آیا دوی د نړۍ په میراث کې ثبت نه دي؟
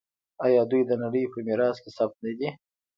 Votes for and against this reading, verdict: 1, 2, rejected